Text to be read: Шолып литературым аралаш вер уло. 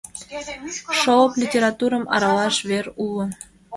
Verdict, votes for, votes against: rejected, 1, 2